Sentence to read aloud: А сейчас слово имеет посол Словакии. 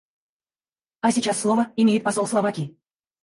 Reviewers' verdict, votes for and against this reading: rejected, 2, 4